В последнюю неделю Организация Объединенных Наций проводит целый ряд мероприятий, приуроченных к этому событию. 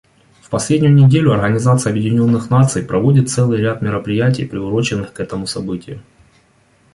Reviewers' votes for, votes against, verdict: 2, 0, accepted